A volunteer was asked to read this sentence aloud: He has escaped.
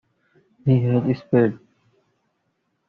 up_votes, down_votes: 0, 2